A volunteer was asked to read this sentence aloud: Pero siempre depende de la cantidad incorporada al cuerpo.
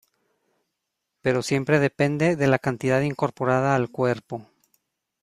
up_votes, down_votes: 2, 0